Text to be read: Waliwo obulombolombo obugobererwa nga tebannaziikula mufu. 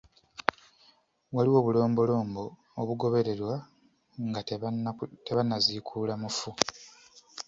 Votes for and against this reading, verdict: 2, 0, accepted